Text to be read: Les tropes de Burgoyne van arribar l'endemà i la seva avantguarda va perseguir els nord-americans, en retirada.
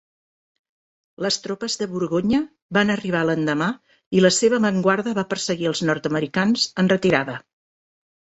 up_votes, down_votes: 1, 2